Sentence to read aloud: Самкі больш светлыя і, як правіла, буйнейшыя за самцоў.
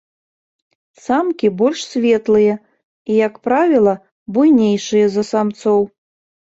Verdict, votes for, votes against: accepted, 3, 0